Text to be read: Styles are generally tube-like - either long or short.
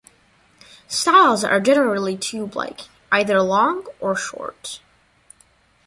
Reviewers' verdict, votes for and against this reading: rejected, 1, 2